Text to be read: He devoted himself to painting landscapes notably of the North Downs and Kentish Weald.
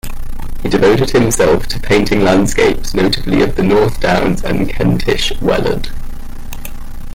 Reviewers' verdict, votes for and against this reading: rejected, 1, 2